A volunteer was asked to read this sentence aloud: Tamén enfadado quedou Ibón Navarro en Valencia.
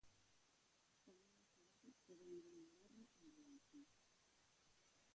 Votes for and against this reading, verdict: 0, 2, rejected